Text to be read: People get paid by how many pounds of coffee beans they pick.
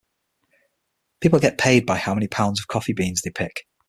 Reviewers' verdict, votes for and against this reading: accepted, 6, 0